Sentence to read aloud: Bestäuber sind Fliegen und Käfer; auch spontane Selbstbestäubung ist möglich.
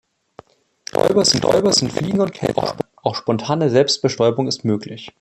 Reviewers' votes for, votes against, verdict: 0, 2, rejected